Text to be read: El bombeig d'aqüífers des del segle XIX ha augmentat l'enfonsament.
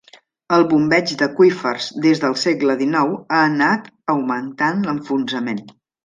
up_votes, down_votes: 0, 2